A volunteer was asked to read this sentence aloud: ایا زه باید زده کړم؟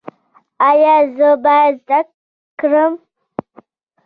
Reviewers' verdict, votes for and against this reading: rejected, 1, 2